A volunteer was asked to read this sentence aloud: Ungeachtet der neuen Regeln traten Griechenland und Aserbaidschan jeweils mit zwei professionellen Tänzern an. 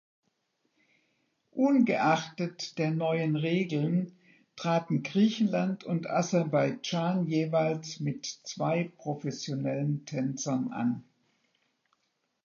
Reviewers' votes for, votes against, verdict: 2, 0, accepted